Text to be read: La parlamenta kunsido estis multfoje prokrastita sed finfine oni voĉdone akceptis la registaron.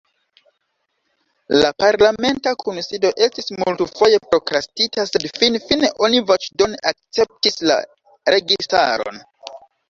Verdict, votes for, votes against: accepted, 2, 0